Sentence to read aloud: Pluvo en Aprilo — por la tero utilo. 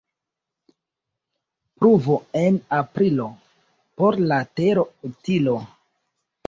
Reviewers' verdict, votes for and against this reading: accepted, 2, 0